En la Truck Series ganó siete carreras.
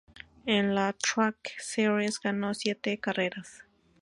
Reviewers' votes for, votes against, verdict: 2, 2, rejected